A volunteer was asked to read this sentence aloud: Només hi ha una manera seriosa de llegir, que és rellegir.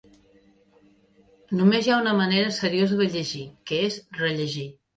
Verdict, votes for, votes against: accepted, 2, 1